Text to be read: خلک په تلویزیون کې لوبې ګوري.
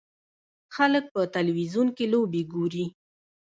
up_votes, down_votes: 0, 2